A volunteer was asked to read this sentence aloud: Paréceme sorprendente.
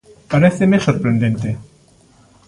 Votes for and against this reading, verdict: 3, 0, accepted